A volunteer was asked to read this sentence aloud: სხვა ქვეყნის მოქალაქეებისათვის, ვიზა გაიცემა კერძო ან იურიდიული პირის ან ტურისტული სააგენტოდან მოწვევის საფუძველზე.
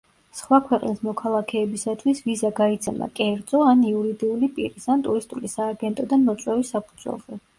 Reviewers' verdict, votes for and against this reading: accepted, 2, 1